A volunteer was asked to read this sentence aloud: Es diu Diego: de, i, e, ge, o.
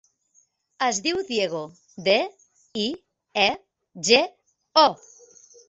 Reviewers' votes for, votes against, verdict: 2, 0, accepted